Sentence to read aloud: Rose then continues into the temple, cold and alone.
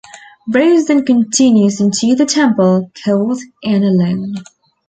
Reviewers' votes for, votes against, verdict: 2, 0, accepted